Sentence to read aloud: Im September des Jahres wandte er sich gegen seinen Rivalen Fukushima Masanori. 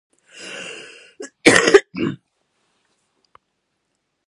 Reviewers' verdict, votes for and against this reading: rejected, 0, 2